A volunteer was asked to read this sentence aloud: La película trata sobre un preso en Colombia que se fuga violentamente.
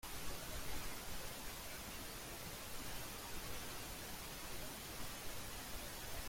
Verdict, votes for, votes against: rejected, 0, 2